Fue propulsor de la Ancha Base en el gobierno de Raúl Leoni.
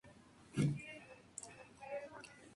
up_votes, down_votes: 0, 2